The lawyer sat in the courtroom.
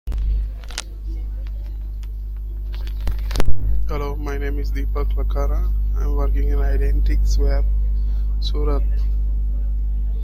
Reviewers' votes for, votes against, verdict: 0, 2, rejected